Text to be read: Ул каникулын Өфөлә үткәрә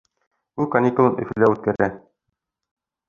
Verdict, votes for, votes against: rejected, 0, 2